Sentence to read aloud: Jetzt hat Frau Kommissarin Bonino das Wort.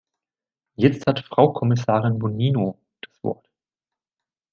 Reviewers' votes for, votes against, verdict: 1, 2, rejected